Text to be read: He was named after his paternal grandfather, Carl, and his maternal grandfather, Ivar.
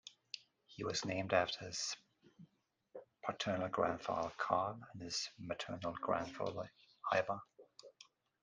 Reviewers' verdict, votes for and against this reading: accepted, 2, 1